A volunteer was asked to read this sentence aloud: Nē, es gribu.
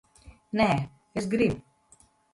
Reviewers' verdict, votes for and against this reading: accepted, 2, 0